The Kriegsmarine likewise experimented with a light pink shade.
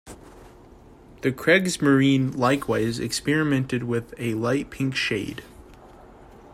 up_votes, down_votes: 2, 0